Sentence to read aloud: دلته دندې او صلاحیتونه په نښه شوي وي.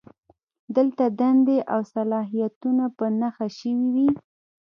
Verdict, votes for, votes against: rejected, 1, 2